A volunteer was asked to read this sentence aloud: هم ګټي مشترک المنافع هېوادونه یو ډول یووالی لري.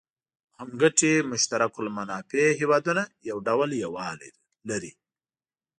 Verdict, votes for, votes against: accepted, 2, 0